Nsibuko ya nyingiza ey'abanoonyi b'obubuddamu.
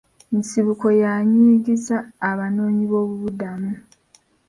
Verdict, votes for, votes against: rejected, 2, 3